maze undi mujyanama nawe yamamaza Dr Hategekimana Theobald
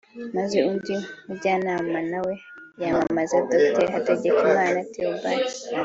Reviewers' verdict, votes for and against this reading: accepted, 2, 0